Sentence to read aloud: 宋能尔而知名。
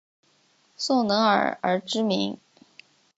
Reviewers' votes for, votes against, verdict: 2, 0, accepted